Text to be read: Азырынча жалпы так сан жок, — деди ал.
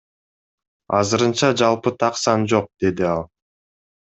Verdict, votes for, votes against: accepted, 2, 0